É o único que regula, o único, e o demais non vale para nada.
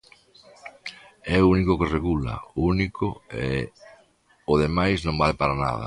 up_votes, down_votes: 2, 0